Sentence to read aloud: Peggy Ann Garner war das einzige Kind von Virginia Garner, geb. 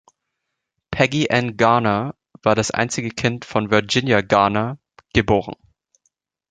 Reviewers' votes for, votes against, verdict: 0, 2, rejected